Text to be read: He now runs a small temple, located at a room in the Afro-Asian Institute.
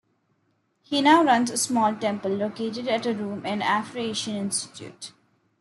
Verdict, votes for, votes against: accepted, 2, 1